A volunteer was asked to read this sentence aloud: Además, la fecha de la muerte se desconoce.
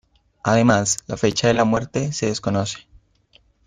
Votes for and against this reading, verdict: 3, 0, accepted